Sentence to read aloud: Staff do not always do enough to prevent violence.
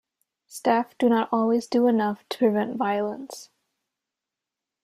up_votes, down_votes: 2, 0